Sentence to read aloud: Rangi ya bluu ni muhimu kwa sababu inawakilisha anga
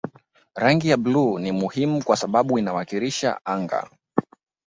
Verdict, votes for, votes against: accepted, 2, 0